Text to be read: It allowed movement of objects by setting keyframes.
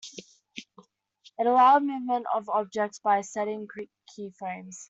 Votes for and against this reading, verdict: 1, 2, rejected